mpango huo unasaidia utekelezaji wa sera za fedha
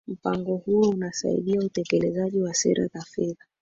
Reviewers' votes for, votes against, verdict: 2, 1, accepted